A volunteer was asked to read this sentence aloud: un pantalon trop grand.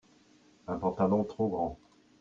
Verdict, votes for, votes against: accepted, 2, 0